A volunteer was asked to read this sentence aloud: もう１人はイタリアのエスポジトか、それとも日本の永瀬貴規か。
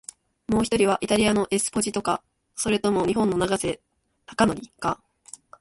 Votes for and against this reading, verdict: 0, 2, rejected